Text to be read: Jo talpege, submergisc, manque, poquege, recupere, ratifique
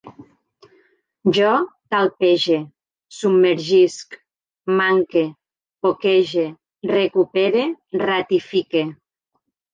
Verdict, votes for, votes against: accepted, 4, 0